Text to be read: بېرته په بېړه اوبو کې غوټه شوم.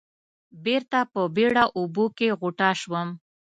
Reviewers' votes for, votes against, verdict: 2, 0, accepted